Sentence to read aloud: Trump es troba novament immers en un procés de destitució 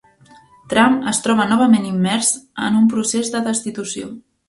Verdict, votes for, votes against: accepted, 3, 0